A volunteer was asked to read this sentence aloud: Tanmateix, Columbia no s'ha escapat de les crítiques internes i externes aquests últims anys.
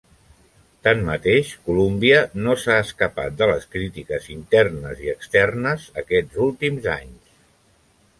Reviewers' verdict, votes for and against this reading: accepted, 3, 0